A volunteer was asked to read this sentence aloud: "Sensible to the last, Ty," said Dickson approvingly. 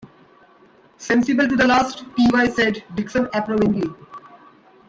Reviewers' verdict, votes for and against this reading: rejected, 0, 2